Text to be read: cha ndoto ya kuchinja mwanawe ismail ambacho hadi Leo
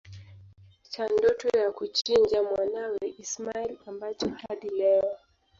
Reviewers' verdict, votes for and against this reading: rejected, 1, 2